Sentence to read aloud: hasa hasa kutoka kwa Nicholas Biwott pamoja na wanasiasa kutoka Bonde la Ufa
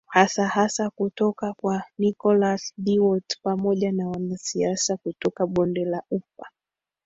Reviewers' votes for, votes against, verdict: 0, 2, rejected